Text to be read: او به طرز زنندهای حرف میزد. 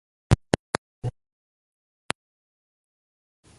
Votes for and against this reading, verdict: 0, 2, rejected